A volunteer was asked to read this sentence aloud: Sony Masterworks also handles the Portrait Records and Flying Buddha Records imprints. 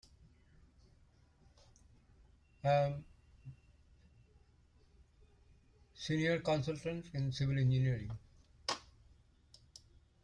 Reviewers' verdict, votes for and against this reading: rejected, 0, 2